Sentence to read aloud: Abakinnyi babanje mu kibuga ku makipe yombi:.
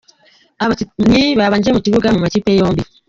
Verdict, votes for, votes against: accepted, 2, 1